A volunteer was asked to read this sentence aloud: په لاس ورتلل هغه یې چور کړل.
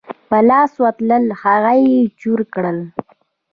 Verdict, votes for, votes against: rejected, 0, 2